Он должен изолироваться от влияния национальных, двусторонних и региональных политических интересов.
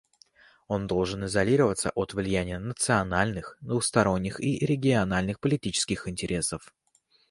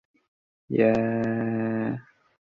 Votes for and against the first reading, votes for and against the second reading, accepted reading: 2, 0, 0, 2, first